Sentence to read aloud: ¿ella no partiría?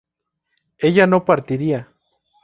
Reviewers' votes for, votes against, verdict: 4, 0, accepted